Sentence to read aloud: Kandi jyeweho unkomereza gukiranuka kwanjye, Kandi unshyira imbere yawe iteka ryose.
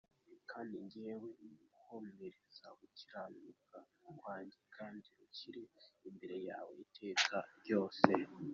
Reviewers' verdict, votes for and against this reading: rejected, 1, 2